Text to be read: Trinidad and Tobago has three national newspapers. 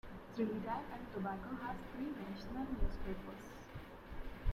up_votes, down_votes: 2, 0